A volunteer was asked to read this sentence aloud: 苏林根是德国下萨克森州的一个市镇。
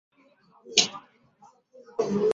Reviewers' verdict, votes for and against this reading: rejected, 0, 2